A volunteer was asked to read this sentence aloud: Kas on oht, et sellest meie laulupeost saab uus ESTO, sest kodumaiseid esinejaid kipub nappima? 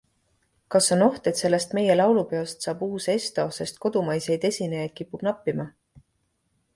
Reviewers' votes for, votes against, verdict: 2, 0, accepted